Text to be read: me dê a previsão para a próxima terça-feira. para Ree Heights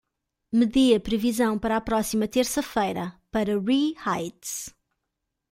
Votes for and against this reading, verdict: 2, 1, accepted